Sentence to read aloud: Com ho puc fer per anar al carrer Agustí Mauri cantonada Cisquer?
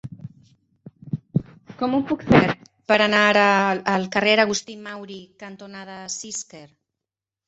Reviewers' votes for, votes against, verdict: 1, 4, rejected